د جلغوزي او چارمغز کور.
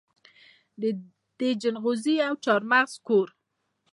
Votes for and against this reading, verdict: 2, 0, accepted